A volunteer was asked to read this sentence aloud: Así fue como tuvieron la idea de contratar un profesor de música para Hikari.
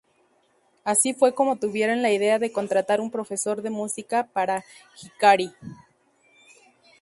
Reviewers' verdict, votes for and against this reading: rejected, 0, 2